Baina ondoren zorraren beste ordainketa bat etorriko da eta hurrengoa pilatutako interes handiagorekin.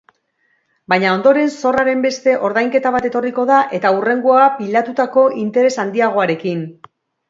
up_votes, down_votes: 2, 1